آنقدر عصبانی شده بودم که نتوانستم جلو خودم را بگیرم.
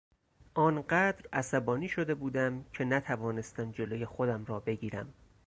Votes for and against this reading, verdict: 4, 0, accepted